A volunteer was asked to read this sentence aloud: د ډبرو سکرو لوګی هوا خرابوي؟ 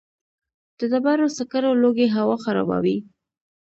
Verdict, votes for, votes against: accepted, 2, 0